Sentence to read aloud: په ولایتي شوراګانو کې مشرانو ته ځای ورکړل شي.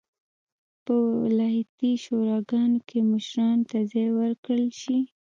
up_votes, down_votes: 0, 2